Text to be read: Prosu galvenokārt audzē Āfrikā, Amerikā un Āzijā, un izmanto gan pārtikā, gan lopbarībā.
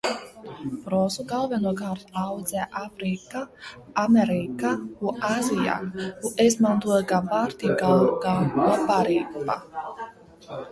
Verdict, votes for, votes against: rejected, 1, 2